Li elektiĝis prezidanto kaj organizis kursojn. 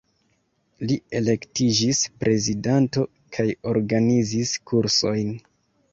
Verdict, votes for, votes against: accepted, 2, 0